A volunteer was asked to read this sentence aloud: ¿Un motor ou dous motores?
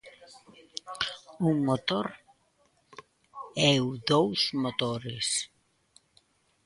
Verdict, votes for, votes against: rejected, 0, 2